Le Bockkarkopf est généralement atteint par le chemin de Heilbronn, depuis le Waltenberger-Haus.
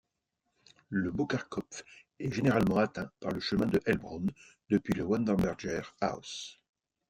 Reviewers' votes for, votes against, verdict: 2, 1, accepted